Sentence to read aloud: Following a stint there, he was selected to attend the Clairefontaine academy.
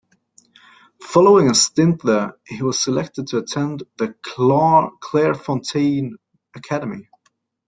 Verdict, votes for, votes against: rejected, 0, 2